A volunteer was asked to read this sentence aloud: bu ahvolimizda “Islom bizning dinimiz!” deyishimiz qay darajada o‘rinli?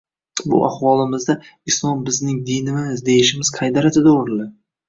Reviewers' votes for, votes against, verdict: 0, 2, rejected